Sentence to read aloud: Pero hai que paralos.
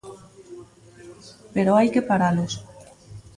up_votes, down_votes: 1, 2